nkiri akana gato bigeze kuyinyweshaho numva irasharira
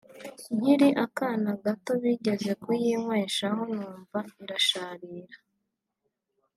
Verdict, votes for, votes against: accepted, 3, 1